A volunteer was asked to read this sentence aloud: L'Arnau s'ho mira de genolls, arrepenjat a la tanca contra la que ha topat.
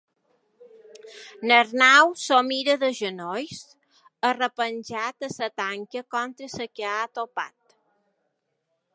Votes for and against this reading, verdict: 1, 2, rejected